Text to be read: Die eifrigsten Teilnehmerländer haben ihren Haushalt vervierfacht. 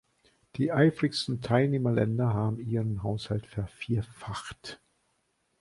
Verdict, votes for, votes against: accepted, 2, 0